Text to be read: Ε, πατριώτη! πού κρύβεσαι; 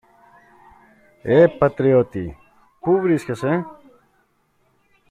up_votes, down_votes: 0, 2